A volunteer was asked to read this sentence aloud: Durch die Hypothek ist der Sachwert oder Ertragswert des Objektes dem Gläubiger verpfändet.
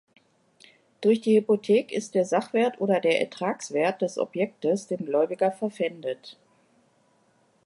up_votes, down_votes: 0, 2